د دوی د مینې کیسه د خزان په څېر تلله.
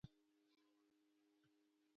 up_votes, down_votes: 1, 2